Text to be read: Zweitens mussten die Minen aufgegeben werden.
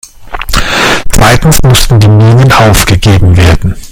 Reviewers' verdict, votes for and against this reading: rejected, 1, 2